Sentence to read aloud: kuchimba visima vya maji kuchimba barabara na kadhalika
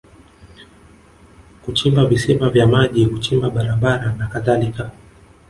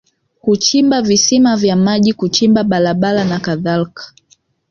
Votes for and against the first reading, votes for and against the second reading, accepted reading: 1, 2, 4, 0, second